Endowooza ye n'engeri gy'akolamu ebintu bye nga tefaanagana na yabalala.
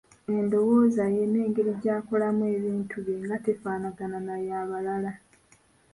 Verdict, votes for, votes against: rejected, 0, 2